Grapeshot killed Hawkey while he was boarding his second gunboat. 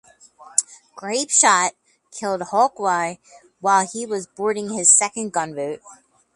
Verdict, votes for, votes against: rejected, 2, 2